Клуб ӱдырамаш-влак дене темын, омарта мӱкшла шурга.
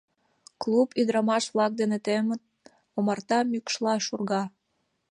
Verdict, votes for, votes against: accepted, 2, 0